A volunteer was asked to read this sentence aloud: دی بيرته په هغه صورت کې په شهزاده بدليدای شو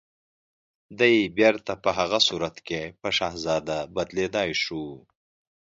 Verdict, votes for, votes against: accepted, 2, 0